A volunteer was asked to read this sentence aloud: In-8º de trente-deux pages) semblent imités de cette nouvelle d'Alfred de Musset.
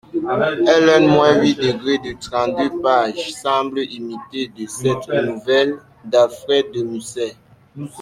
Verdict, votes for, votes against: rejected, 0, 2